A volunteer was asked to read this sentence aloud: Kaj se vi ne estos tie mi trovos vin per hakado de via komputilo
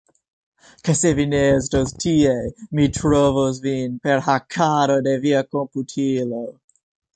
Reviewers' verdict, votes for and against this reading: accepted, 2, 0